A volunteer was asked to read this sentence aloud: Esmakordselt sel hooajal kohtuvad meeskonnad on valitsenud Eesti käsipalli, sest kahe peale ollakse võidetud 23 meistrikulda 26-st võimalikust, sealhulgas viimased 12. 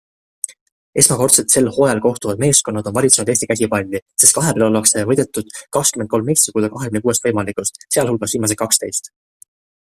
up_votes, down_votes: 0, 2